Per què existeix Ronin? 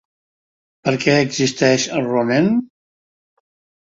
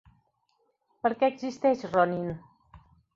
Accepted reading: second